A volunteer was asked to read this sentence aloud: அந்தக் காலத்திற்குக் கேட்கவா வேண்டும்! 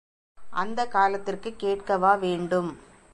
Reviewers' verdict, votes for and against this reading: accepted, 2, 0